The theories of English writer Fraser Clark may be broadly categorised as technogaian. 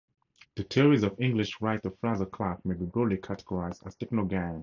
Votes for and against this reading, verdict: 2, 0, accepted